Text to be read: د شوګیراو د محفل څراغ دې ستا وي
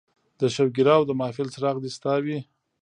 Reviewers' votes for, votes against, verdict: 0, 2, rejected